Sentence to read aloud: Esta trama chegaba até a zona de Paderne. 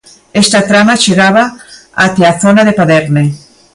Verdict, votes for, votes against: accepted, 2, 0